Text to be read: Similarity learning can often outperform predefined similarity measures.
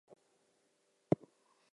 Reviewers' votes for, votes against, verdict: 0, 2, rejected